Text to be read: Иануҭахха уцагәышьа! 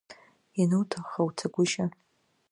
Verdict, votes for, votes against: accepted, 2, 0